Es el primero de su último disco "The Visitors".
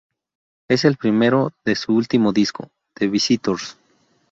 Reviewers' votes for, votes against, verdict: 2, 0, accepted